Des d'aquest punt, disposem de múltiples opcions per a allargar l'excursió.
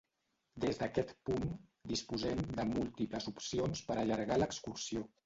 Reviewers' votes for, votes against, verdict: 1, 2, rejected